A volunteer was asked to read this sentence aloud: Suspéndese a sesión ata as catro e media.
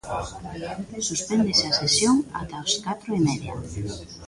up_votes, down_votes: 2, 3